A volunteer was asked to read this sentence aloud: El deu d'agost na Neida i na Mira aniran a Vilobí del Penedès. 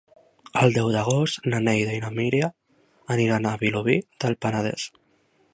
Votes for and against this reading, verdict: 0, 2, rejected